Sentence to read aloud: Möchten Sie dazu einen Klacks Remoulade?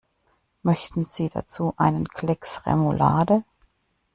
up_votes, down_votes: 1, 2